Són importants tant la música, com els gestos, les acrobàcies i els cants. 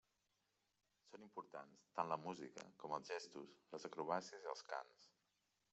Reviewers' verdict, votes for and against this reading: rejected, 1, 2